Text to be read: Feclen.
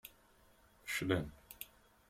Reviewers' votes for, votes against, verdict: 0, 2, rejected